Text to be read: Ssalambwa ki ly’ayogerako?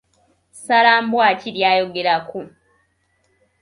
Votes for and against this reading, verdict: 2, 0, accepted